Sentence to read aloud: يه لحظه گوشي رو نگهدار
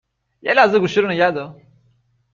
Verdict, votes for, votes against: accepted, 3, 0